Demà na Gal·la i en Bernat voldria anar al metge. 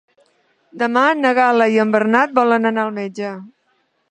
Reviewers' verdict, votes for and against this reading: rejected, 0, 2